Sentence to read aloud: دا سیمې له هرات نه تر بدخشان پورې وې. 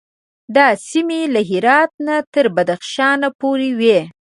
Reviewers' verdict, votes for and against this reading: accepted, 2, 0